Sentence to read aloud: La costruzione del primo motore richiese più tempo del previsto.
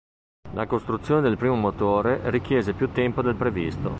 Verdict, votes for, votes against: accepted, 2, 0